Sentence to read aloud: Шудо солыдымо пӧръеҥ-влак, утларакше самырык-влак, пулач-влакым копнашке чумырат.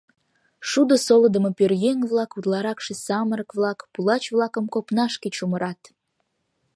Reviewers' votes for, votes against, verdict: 2, 0, accepted